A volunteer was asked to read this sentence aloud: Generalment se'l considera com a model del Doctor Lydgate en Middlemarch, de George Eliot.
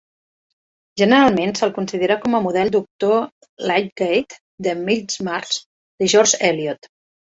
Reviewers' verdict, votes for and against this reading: rejected, 1, 2